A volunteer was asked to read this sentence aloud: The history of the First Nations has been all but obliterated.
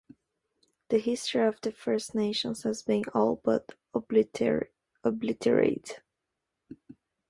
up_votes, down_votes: 1, 2